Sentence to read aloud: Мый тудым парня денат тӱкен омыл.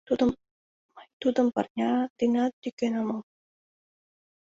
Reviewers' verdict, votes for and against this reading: rejected, 0, 2